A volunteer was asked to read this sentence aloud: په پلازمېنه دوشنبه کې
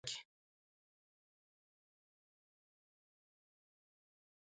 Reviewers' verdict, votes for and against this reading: rejected, 0, 2